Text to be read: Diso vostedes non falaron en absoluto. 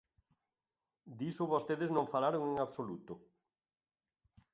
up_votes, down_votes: 2, 0